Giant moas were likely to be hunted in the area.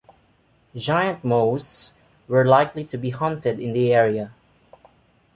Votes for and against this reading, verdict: 2, 0, accepted